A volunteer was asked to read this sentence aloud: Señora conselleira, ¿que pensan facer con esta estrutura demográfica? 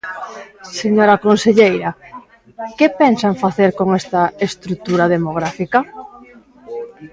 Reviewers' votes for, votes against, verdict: 1, 2, rejected